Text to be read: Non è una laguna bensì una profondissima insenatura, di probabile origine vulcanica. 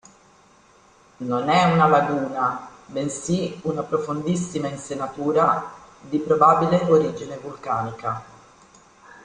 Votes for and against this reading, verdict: 2, 1, accepted